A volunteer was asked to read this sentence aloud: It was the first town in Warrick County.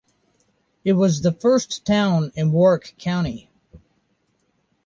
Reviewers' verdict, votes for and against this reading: accepted, 2, 0